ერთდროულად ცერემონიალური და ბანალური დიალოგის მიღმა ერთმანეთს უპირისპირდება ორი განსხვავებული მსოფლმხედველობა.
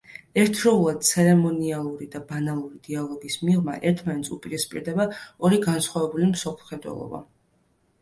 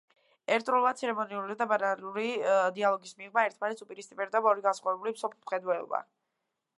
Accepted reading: first